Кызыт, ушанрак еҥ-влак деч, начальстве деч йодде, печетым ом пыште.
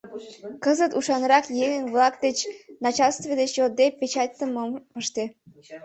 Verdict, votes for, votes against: rejected, 1, 2